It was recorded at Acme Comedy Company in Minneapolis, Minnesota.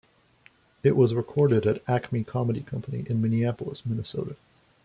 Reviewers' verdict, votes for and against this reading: accepted, 2, 1